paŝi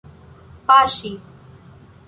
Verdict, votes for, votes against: accepted, 2, 0